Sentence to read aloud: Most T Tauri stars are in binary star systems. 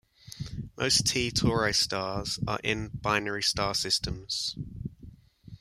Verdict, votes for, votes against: rejected, 1, 2